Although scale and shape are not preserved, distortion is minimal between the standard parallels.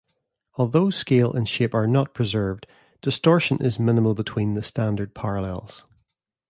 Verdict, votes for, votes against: accepted, 2, 0